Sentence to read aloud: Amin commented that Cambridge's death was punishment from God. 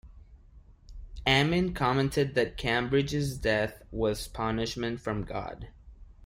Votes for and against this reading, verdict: 1, 2, rejected